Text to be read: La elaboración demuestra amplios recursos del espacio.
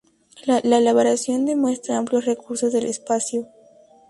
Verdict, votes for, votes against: rejected, 0, 4